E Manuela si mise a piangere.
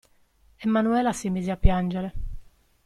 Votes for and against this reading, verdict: 2, 0, accepted